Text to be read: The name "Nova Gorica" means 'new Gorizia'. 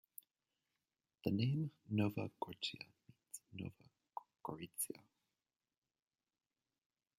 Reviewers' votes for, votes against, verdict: 0, 2, rejected